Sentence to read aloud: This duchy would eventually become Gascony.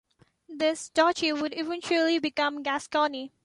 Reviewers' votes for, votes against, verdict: 2, 1, accepted